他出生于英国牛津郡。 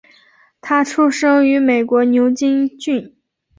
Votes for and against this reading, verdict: 0, 4, rejected